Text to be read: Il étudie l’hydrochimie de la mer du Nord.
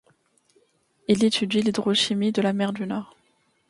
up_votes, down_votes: 2, 0